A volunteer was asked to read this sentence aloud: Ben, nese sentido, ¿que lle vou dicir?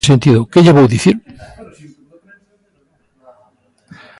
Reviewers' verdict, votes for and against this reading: rejected, 0, 2